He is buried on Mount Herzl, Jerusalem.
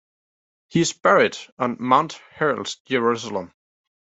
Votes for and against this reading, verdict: 1, 2, rejected